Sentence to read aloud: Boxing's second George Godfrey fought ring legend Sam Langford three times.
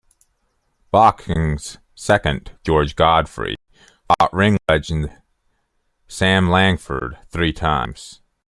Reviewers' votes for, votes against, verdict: 1, 2, rejected